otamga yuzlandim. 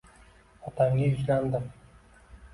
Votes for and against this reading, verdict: 2, 0, accepted